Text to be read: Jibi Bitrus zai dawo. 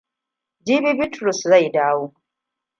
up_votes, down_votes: 2, 0